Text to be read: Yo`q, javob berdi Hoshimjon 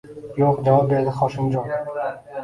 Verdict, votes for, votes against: rejected, 0, 2